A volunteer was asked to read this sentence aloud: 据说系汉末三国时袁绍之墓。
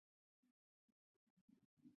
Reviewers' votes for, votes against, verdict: 1, 3, rejected